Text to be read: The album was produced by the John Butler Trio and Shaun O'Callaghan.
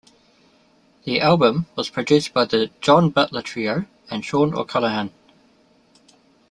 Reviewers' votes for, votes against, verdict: 2, 0, accepted